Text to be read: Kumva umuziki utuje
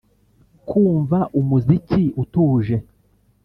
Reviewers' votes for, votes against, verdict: 2, 0, accepted